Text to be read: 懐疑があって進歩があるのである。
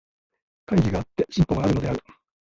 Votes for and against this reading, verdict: 1, 2, rejected